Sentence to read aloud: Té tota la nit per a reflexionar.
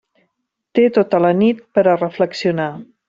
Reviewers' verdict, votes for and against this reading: accepted, 3, 0